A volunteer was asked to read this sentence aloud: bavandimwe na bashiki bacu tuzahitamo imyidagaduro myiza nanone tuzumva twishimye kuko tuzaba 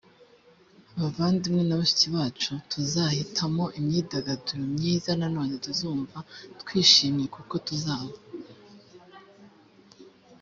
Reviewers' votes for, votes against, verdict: 2, 0, accepted